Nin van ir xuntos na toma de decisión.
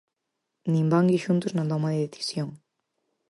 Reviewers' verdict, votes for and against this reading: rejected, 2, 4